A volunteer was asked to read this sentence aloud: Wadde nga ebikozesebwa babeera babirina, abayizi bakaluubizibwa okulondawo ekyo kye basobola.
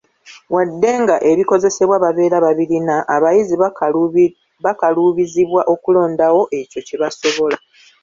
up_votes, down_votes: 2, 0